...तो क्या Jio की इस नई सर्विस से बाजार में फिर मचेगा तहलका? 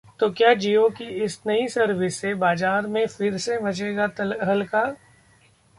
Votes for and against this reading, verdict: 1, 2, rejected